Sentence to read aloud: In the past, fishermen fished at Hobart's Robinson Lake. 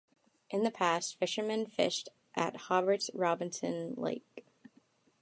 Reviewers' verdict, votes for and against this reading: accepted, 2, 0